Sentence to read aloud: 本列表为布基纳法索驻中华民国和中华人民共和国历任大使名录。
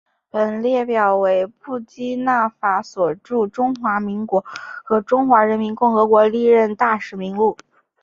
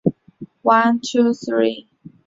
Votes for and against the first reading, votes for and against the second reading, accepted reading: 2, 1, 1, 2, first